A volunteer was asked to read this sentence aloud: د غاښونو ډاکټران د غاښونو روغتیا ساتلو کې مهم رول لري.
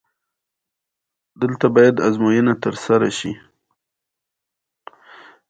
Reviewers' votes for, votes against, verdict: 0, 2, rejected